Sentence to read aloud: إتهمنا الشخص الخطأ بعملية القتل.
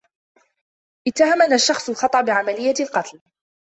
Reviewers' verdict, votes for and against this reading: rejected, 1, 2